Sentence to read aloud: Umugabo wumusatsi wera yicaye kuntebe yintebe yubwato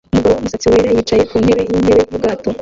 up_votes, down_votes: 0, 2